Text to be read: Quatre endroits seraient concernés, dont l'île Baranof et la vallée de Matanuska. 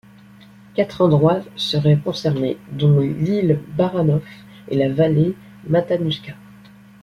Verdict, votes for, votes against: rejected, 0, 2